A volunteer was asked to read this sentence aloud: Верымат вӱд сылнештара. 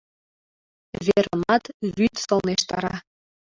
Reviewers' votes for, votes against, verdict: 1, 2, rejected